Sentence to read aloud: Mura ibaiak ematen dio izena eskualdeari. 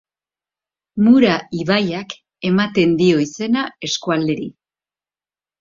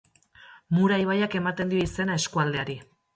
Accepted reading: second